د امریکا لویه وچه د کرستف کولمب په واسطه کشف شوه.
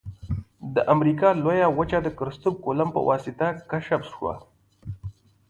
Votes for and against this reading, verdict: 2, 0, accepted